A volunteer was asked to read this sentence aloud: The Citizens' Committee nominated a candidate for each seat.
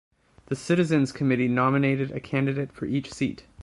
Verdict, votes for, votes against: accepted, 2, 0